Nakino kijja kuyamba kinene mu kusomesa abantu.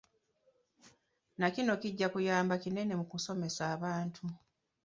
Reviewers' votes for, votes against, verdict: 2, 1, accepted